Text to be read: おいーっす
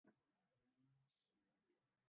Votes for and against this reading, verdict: 0, 2, rejected